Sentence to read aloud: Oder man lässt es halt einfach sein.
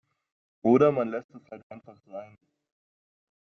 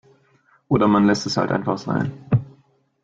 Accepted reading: second